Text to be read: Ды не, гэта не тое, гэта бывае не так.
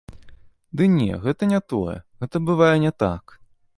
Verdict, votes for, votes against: accepted, 2, 0